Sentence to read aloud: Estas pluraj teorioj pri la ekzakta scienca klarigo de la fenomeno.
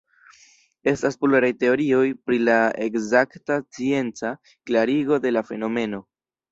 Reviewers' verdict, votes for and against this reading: rejected, 1, 2